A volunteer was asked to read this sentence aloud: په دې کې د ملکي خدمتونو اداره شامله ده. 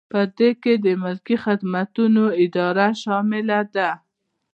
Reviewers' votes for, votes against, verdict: 2, 0, accepted